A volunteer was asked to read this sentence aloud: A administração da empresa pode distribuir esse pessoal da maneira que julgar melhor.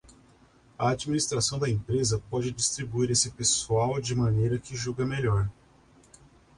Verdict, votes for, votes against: rejected, 0, 2